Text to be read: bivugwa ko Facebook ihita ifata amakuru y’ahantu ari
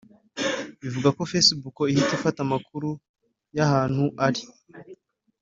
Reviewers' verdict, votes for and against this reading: accepted, 2, 0